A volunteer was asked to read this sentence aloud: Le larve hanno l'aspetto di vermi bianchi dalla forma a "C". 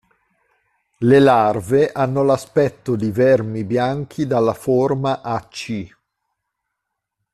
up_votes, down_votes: 2, 0